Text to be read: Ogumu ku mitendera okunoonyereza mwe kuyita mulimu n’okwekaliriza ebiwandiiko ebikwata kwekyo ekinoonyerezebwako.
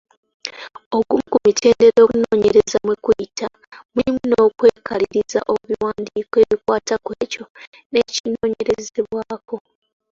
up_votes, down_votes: 0, 2